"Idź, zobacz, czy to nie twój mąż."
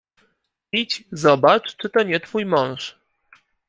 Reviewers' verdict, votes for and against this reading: accepted, 2, 0